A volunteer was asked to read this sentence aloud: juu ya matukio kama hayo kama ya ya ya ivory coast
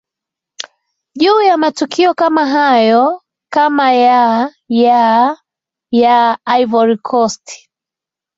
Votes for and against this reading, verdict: 2, 0, accepted